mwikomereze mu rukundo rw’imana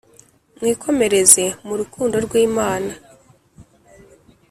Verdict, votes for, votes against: accepted, 2, 0